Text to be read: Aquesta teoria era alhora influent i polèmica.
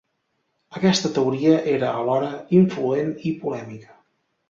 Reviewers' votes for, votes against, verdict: 2, 0, accepted